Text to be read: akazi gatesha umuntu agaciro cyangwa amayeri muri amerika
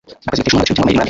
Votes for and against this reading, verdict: 2, 3, rejected